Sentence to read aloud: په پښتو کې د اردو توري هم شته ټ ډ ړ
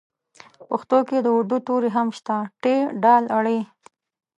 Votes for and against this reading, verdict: 2, 1, accepted